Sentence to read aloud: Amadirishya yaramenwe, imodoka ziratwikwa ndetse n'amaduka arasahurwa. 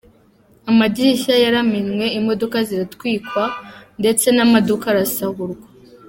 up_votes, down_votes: 2, 0